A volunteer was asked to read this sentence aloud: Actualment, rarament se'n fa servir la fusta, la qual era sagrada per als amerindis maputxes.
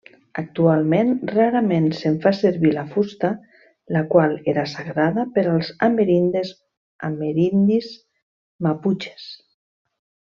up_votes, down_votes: 0, 2